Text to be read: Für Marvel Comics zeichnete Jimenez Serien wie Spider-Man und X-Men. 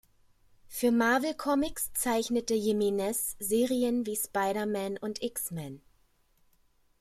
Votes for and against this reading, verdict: 2, 0, accepted